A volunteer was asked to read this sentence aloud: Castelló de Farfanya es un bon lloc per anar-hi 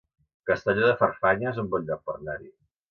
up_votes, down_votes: 1, 2